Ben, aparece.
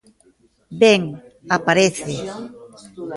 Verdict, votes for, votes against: rejected, 1, 2